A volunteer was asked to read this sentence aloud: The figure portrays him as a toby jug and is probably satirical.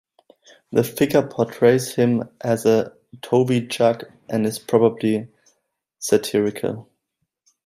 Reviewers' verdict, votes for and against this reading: accepted, 2, 0